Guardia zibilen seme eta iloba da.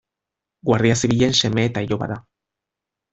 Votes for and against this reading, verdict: 2, 0, accepted